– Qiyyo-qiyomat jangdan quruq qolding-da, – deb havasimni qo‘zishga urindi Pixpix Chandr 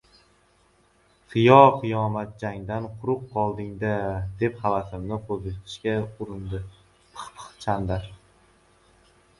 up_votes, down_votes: 2, 0